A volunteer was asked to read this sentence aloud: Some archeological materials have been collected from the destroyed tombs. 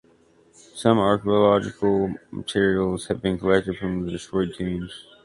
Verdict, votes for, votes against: rejected, 1, 2